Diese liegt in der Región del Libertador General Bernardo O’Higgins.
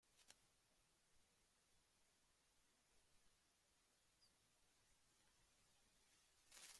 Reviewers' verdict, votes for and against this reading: rejected, 0, 2